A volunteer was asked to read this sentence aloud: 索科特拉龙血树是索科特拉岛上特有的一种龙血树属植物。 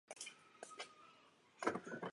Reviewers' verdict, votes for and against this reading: rejected, 0, 4